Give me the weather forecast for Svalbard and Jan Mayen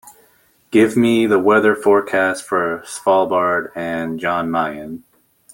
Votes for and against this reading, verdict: 2, 0, accepted